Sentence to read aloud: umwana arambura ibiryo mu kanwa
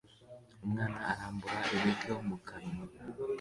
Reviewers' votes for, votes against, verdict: 2, 0, accepted